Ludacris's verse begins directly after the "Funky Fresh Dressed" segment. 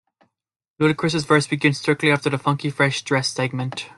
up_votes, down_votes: 0, 2